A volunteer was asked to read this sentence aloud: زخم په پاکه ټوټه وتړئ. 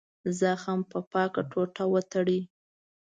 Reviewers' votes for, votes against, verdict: 2, 0, accepted